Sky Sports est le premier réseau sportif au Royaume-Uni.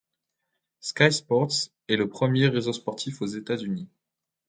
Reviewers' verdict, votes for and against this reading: rejected, 1, 2